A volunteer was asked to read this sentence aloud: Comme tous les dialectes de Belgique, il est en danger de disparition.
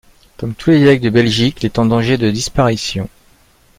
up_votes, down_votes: 2, 0